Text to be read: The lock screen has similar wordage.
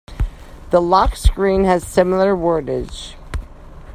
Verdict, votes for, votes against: accepted, 2, 0